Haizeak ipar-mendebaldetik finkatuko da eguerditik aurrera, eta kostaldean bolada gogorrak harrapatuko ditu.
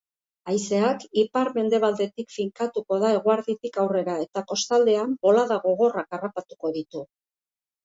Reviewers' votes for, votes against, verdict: 3, 0, accepted